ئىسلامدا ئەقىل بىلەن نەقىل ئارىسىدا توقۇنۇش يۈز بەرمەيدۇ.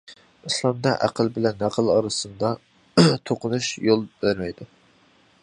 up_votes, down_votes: 0, 2